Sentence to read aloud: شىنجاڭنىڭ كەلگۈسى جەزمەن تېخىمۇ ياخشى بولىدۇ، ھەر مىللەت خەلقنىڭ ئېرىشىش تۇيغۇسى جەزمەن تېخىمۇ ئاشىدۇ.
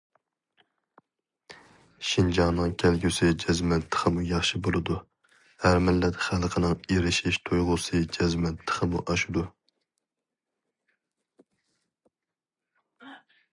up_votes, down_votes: 2, 0